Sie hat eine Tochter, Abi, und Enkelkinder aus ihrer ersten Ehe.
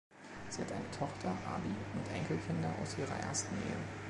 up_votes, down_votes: 2, 0